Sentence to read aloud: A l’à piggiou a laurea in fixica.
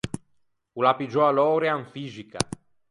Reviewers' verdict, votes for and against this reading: rejected, 0, 4